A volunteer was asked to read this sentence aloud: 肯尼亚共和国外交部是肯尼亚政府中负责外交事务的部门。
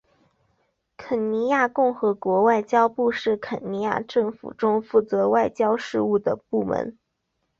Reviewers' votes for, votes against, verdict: 2, 0, accepted